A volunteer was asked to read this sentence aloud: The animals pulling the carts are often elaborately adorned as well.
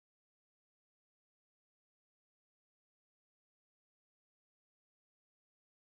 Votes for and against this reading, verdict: 0, 4, rejected